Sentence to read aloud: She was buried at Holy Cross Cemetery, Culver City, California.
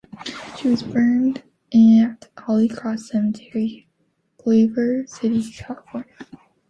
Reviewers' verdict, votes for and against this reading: rejected, 1, 2